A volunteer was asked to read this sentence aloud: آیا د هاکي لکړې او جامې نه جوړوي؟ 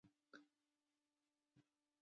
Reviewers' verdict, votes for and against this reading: rejected, 0, 2